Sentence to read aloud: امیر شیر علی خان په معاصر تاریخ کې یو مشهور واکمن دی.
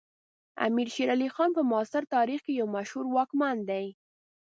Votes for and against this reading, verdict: 2, 0, accepted